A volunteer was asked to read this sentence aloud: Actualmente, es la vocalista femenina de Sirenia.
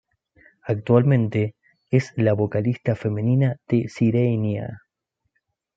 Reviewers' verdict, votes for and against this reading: accepted, 2, 0